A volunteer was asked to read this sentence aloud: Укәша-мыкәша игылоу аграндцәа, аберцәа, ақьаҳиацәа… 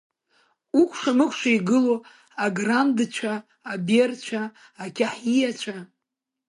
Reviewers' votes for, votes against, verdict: 2, 0, accepted